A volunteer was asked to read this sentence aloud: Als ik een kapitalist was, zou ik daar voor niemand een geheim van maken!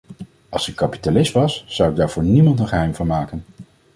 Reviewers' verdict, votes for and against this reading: rejected, 1, 2